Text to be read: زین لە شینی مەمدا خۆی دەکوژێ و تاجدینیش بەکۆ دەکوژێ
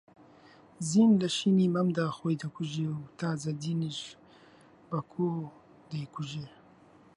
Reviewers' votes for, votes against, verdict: 1, 2, rejected